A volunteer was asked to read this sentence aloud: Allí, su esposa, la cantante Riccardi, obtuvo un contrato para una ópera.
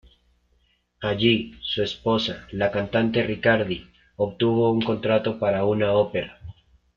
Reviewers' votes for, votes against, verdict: 2, 0, accepted